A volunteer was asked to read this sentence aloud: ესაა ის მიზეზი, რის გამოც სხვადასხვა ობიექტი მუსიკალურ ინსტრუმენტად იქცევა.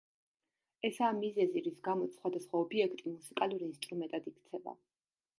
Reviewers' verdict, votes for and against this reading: rejected, 0, 2